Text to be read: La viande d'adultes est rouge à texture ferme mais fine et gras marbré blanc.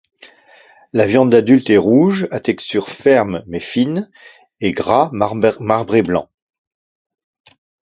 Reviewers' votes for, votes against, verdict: 2, 0, accepted